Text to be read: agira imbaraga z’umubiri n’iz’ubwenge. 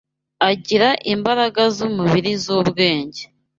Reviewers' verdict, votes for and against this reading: rejected, 1, 2